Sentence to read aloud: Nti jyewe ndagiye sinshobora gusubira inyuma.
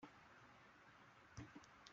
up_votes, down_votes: 0, 2